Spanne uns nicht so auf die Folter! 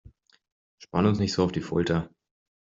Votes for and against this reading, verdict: 2, 1, accepted